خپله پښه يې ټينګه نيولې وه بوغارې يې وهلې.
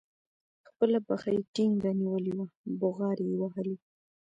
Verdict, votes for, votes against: rejected, 1, 2